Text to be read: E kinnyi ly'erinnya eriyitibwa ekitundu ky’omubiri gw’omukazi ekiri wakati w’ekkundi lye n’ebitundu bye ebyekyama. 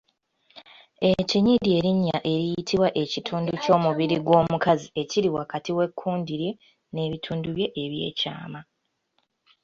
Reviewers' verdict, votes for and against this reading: accepted, 2, 0